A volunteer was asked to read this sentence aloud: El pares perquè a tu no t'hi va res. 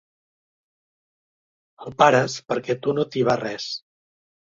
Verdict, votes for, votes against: accepted, 2, 0